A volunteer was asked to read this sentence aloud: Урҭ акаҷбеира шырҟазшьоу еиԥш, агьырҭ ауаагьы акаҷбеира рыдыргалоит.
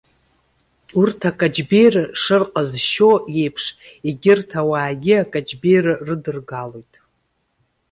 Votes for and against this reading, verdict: 0, 2, rejected